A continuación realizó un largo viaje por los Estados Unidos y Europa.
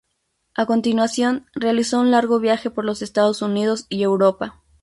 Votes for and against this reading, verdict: 2, 0, accepted